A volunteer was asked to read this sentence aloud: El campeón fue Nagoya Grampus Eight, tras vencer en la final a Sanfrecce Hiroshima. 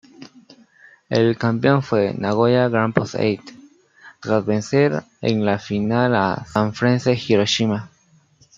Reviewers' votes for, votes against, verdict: 0, 2, rejected